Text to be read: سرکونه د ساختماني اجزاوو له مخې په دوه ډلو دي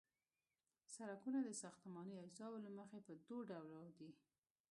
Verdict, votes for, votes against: rejected, 0, 2